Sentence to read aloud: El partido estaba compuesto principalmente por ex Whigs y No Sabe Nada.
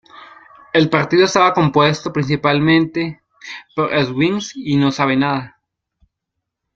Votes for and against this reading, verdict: 2, 0, accepted